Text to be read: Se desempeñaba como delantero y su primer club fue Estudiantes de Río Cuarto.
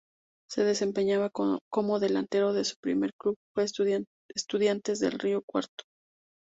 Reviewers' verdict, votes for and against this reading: rejected, 0, 2